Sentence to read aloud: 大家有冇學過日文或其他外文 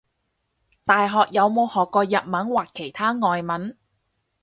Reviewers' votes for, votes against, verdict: 0, 4, rejected